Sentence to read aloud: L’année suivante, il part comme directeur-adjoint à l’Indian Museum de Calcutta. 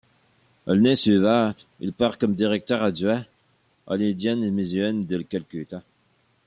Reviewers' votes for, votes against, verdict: 2, 1, accepted